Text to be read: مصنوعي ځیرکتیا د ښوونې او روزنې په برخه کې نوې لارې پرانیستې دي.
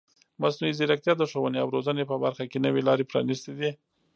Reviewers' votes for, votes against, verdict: 1, 2, rejected